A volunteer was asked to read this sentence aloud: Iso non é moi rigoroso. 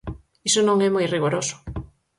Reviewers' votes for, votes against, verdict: 4, 0, accepted